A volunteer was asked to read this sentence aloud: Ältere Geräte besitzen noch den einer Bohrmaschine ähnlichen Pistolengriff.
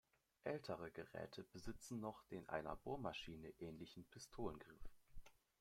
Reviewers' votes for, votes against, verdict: 1, 2, rejected